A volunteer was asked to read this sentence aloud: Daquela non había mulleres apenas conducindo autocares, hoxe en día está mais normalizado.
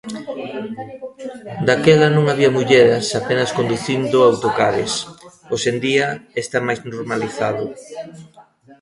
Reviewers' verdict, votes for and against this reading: rejected, 1, 2